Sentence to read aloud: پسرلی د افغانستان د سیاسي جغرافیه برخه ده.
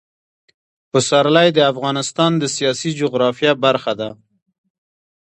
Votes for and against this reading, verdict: 1, 2, rejected